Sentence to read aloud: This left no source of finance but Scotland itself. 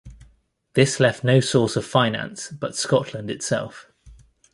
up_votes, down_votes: 2, 0